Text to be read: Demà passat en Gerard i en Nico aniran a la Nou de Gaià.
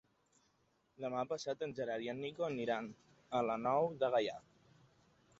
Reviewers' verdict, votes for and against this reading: accepted, 3, 0